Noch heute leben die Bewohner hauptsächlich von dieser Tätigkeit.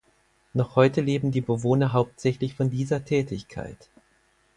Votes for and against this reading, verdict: 4, 0, accepted